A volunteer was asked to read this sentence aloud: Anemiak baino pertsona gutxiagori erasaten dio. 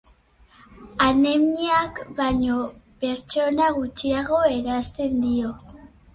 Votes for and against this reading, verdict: 0, 4, rejected